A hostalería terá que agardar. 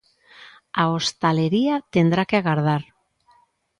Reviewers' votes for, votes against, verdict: 0, 3, rejected